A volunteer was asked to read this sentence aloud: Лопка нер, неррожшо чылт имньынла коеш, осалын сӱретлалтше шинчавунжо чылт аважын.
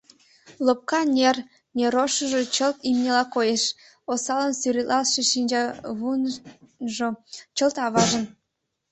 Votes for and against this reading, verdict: 0, 2, rejected